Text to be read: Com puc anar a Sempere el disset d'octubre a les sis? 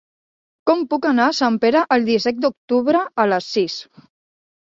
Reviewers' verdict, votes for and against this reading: accepted, 2, 1